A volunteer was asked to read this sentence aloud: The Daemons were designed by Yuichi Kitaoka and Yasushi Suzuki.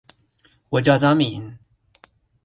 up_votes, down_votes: 0, 2